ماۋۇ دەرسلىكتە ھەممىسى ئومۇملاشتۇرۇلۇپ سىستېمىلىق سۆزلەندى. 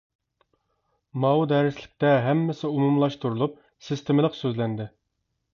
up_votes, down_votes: 2, 0